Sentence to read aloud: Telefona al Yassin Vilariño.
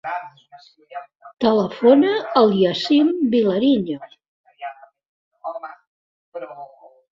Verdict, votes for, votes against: accepted, 2, 0